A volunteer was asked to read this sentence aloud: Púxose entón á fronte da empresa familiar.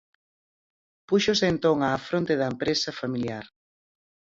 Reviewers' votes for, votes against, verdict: 4, 0, accepted